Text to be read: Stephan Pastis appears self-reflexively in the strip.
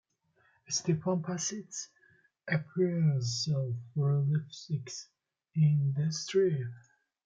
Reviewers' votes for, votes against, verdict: 1, 2, rejected